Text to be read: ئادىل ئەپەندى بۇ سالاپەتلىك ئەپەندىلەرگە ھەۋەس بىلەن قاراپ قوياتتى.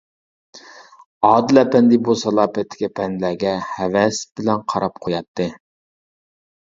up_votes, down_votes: 2, 1